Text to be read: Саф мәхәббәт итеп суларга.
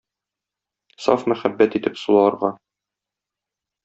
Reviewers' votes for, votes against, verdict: 2, 0, accepted